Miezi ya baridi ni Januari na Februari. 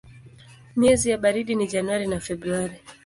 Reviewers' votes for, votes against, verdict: 4, 0, accepted